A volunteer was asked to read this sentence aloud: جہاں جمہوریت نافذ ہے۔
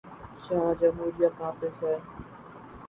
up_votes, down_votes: 0, 2